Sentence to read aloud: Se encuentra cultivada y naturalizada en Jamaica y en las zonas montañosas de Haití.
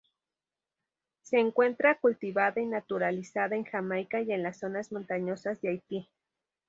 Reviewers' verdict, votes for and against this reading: rejected, 2, 2